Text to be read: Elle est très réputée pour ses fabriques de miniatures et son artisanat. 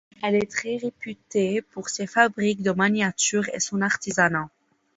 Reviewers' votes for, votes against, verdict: 1, 2, rejected